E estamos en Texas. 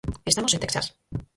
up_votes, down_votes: 0, 4